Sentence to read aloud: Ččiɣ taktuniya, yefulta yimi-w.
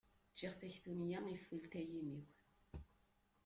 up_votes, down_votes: 1, 2